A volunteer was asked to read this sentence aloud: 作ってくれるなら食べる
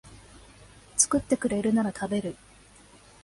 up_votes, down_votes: 2, 0